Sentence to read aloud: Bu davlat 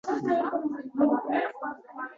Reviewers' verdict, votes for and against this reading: rejected, 0, 2